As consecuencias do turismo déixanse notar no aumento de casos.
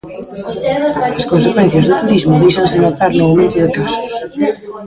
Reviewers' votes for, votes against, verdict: 0, 2, rejected